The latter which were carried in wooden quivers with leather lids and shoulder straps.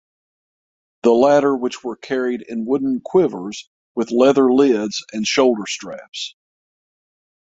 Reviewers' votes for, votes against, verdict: 6, 0, accepted